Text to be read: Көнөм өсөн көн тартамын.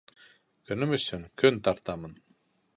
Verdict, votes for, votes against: accepted, 2, 0